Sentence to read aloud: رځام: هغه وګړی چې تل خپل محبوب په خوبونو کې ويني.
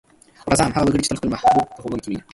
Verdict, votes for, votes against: rejected, 0, 2